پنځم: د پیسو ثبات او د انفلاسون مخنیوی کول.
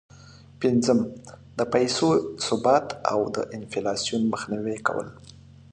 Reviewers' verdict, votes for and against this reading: accepted, 2, 0